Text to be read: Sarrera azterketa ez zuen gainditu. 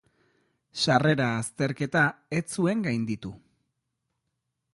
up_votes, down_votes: 2, 0